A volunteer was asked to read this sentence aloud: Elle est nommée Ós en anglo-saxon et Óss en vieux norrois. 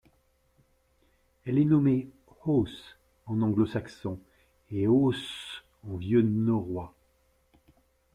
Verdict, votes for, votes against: accepted, 2, 0